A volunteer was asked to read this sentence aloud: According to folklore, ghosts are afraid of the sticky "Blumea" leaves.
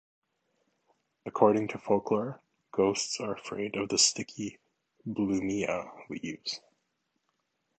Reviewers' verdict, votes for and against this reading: accepted, 2, 0